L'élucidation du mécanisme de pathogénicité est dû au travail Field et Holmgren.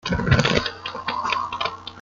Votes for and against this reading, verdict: 0, 2, rejected